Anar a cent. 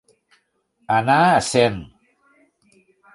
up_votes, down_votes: 2, 0